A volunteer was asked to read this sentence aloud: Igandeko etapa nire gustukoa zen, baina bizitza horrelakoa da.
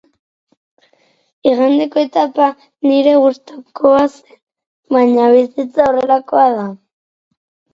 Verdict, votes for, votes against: accepted, 4, 0